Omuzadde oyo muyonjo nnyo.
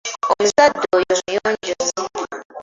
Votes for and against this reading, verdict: 0, 2, rejected